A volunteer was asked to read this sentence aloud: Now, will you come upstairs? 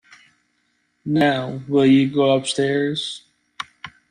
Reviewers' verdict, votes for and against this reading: rejected, 0, 2